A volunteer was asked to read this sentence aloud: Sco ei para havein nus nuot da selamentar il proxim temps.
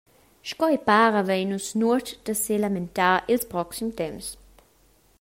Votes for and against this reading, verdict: 0, 2, rejected